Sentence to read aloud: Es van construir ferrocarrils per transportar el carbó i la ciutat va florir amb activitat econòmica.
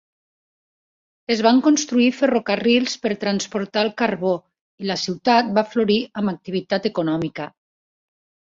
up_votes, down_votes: 3, 0